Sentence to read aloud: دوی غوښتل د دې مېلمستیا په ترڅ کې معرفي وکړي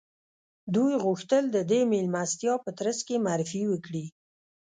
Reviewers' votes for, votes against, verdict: 1, 2, rejected